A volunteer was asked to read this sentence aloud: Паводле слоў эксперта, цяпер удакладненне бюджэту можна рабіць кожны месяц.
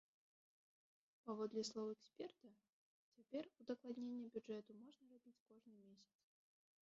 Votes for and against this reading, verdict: 1, 3, rejected